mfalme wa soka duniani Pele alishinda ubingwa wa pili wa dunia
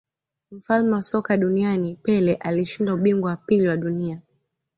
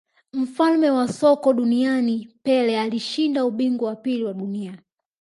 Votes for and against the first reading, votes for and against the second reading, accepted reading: 2, 0, 0, 2, first